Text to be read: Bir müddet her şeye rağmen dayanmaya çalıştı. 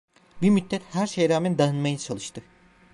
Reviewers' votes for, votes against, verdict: 1, 2, rejected